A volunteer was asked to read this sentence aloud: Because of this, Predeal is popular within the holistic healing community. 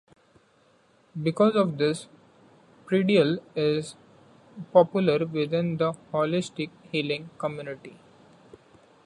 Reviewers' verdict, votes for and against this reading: accepted, 2, 1